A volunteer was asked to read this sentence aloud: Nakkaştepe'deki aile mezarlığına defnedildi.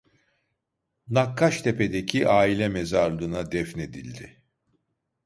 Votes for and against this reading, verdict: 2, 0, accepted